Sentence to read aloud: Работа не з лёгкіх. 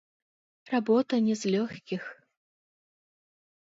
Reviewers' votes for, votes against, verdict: 1, 2, rejected